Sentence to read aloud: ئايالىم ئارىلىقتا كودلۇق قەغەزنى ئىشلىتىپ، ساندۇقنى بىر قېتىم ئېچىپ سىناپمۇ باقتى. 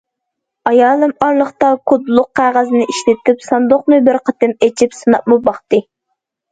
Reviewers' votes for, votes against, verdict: 2, 0, accepted